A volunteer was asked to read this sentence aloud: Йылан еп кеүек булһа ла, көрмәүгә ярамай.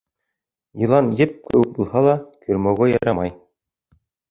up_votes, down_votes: 2, 0